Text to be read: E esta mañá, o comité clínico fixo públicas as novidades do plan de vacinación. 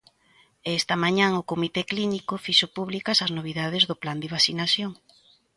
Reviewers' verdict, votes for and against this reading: rejected, 0, 2